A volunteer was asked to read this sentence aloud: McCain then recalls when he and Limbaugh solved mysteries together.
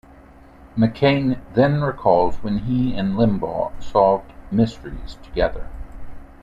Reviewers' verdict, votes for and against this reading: accepted, 2, 0